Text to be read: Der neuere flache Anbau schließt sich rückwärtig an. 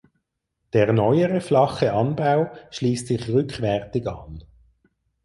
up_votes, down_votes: 4, 0